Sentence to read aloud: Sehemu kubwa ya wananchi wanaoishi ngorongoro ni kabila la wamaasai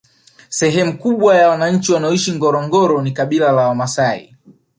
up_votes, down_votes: 0, 2